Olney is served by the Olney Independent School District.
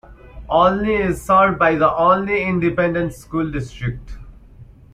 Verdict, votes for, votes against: rejected, 0, 2